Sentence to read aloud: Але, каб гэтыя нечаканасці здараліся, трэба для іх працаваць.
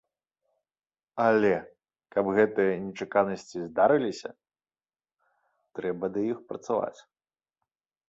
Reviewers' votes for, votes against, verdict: 1, 2, rejected